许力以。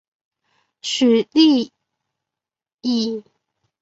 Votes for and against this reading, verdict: 2, 1, accepted